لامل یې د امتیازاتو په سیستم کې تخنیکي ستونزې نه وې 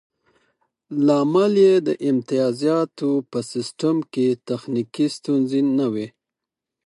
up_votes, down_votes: 6, 0